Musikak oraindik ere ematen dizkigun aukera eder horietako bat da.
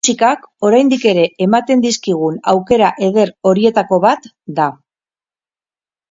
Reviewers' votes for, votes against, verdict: 0, 4, rejected